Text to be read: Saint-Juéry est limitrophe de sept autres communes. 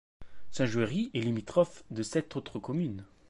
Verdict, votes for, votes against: accepted, 2, 0